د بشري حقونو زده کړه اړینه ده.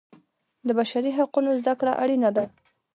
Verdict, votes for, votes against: rejected, 0, 2